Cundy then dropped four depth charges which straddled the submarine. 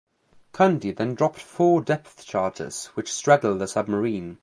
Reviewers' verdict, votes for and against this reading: accepted, 2, 0